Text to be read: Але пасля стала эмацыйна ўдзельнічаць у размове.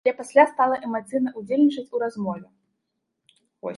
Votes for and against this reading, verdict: 0, 2, rejected